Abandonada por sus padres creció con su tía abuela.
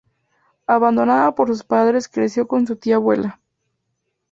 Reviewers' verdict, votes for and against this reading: accepted, 2, 0